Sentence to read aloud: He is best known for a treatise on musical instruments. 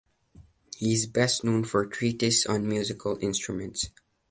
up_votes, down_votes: 2, 0